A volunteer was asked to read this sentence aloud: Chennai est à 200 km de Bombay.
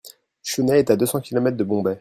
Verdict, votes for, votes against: rejected, 0, 2